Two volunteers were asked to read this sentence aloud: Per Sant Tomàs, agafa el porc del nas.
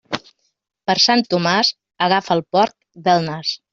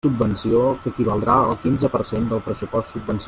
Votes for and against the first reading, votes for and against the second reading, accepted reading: 3, 0, 0, 2, first